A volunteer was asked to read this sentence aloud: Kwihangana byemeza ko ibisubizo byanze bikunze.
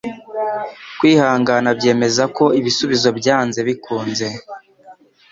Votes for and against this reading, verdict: 2, 0, accepted